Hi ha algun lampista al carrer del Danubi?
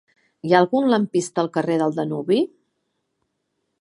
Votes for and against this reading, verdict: 3, 0, accepted